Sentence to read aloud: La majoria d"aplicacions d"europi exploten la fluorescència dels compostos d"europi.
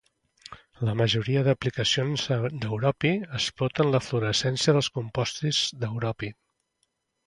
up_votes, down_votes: 0, 2